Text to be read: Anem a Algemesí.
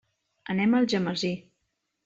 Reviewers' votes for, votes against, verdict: 3, 0, accepted